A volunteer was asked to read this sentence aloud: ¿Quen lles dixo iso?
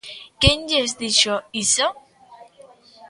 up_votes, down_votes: 1, 2